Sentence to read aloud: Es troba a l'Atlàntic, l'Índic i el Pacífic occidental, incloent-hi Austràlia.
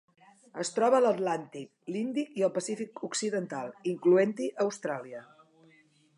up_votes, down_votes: 2, 0